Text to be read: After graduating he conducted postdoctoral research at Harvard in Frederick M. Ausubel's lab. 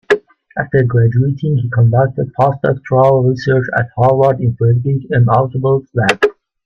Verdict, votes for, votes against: rejected, 1, 3